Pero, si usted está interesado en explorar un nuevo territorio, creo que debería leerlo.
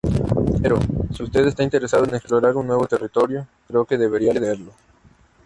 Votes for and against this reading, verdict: 0, 2, rejected